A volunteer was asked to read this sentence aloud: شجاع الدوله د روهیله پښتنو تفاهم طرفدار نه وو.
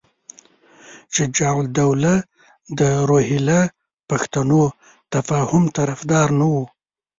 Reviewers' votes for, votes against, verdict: 1, 2, rejected